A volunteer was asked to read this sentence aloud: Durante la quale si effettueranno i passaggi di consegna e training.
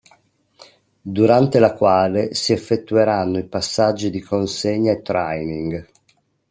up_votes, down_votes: 1, 2